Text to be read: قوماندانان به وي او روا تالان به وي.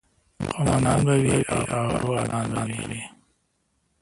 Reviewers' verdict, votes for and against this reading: rejected, 1, 2